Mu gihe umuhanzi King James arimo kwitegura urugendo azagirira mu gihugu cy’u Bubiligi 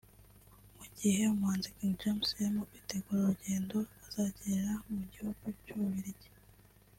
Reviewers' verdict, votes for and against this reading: accepted, 2, 1